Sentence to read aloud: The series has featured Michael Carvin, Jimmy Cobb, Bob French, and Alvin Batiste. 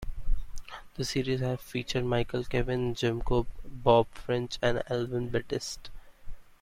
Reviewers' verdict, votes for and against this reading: accepted, 2, 0